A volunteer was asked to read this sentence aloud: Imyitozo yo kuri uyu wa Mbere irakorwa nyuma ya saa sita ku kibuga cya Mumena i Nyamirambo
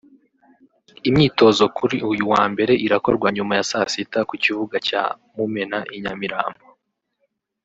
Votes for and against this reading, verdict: 0, 2, rejected